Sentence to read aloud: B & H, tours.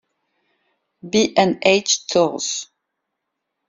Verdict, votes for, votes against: rejected, 0, 2